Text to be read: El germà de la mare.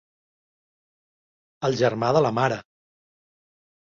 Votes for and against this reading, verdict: 3, 0, accepted